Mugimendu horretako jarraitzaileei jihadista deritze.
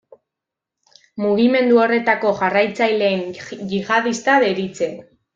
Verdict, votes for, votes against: rejected, 1, 2